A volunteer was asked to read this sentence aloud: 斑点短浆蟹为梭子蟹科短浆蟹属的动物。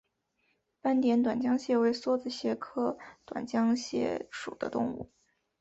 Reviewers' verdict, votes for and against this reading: accepted, 7, 2